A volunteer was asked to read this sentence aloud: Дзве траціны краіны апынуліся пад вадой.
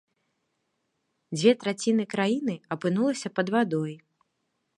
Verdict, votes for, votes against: rejected, 1, 2